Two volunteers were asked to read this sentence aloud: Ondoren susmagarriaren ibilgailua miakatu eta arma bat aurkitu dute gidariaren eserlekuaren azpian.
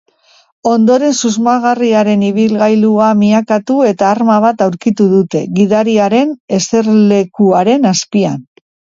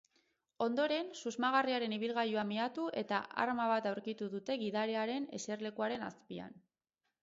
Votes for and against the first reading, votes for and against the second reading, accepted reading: 2, 0, 2, 4, first